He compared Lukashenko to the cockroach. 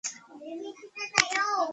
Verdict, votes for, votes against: rejected, 0, 2